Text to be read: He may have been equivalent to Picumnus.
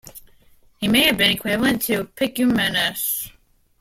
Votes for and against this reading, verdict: 2, 1, accepted